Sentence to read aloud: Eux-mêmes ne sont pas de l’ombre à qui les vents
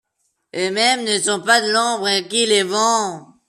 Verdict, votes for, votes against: rejected, 0, 2